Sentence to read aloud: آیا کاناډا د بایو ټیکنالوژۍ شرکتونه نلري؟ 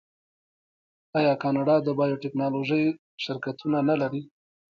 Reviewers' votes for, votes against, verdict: 2, 0, accepted